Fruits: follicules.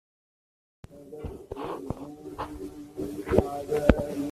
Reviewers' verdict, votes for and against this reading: rejected, 0, 2